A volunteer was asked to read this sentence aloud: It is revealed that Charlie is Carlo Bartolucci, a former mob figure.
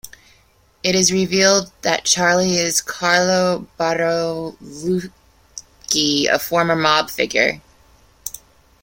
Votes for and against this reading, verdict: 1, 2, rejected